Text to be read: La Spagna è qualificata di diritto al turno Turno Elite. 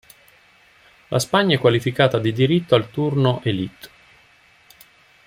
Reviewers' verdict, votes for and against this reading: rejected, 0, 2